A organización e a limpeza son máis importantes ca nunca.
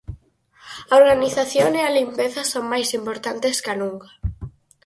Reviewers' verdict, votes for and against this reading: accepted, 4, 0